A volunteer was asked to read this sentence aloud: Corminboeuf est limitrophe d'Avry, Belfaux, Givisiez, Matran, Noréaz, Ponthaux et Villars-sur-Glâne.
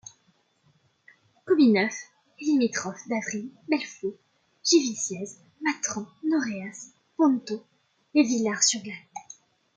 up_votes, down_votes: 0, 2